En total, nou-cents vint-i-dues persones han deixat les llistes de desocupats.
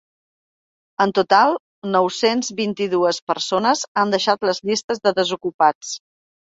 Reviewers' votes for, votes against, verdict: 3, 0, accepted